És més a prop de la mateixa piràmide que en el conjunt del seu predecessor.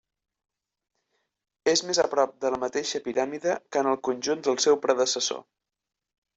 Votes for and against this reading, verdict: 3, 0, accepted